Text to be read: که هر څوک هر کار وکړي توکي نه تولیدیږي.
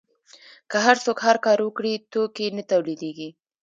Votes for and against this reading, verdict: 2, 0, accepted